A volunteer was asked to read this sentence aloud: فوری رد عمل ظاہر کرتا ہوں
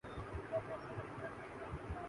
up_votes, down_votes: 3, 3